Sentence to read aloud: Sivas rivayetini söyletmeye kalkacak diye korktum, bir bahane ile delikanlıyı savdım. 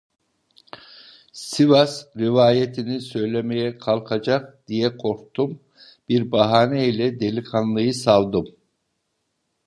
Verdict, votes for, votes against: rejected, 0, 2